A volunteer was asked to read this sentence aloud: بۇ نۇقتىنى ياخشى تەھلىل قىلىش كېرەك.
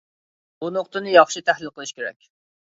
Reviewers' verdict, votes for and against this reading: accepted, 2, 0